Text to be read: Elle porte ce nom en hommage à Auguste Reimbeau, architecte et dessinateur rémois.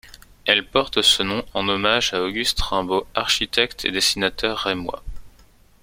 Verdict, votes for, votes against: accepted, 2, 0